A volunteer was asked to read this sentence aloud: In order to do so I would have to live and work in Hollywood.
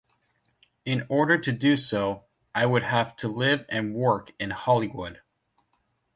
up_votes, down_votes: 2, 0